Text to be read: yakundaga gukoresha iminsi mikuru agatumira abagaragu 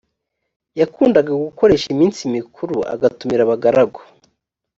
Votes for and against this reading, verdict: 2, 0, accepted